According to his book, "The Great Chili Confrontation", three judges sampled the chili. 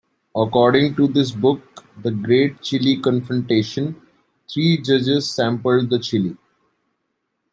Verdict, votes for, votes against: rejected, 1, 2